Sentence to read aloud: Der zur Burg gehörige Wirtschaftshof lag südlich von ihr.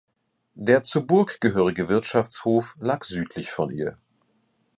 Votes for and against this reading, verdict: 2, 0, accepted